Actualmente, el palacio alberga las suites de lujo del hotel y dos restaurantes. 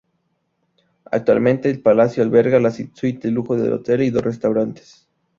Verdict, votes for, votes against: rejected, 0, 2